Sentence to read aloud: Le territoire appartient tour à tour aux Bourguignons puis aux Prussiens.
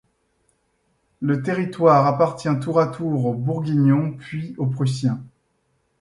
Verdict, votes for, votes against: accepted, 2, 0